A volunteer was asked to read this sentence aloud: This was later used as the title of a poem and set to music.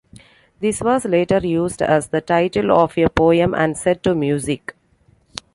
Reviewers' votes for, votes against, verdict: 2, 1, accepted